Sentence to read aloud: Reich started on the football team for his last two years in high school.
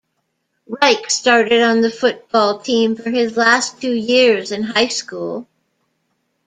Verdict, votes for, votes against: accepted, 2, 0